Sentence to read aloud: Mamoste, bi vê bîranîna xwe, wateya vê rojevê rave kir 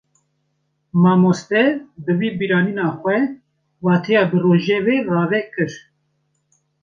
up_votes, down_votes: 1, 2